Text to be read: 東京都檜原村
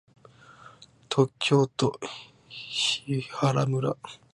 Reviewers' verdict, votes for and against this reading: rejected, 1, 3